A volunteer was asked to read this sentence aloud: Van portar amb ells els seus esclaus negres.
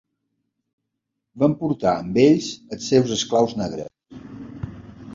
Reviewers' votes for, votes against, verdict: 2, 0, accepted